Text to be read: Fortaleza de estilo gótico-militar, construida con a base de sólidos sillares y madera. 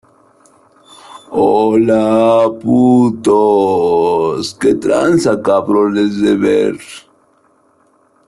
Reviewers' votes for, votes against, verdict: 0, 2, rejected